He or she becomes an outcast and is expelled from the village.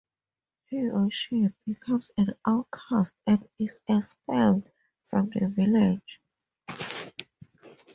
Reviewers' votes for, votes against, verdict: 2, 0, accepted